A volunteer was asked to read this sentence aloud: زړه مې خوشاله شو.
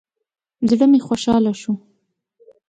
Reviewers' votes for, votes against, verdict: 2, 0, accepted